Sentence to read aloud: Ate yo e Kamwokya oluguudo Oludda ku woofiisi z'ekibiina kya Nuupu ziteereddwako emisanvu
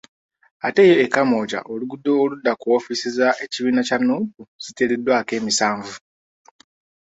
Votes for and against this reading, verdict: 3, 0, accepted